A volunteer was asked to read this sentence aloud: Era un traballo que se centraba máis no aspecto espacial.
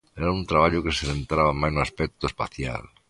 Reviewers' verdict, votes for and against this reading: accepted, 2, 0